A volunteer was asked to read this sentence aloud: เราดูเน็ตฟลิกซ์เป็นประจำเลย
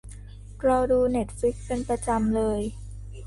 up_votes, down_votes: 2, 0